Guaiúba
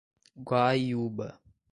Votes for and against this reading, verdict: 2, 0, accepted